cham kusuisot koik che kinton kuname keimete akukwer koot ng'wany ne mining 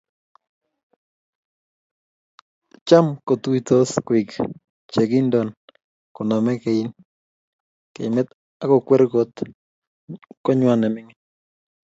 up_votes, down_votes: 2, 0